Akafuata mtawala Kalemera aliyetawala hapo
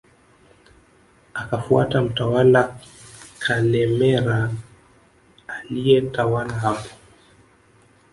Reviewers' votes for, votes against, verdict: 0, 2, rejected